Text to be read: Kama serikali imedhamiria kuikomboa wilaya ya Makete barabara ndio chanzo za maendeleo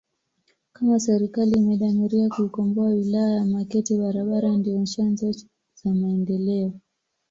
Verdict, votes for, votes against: accepted, 2, 0